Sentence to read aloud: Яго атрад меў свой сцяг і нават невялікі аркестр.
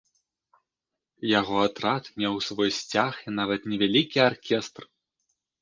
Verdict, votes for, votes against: accepted, 2, 0